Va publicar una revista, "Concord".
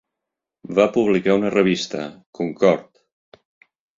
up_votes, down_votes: 1, 2